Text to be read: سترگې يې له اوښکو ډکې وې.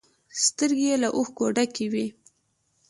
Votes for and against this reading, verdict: 2, 0, accepted